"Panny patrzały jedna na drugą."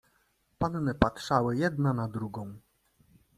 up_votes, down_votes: 2, 0